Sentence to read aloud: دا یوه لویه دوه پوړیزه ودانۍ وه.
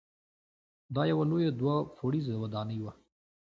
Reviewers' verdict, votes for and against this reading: accepted, 2, 0